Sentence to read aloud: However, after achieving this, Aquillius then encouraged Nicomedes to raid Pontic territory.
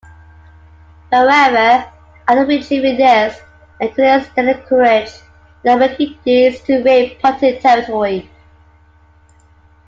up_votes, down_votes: 0, 2